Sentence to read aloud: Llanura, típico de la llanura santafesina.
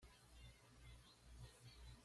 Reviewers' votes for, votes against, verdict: 1, 2, rejected